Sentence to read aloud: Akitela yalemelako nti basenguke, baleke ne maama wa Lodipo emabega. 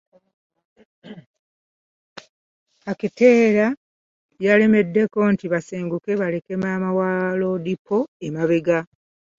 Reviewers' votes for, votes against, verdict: 2, 0, accepted